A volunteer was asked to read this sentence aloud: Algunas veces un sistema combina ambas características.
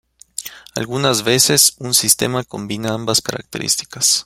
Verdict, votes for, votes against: rejected, 1, 2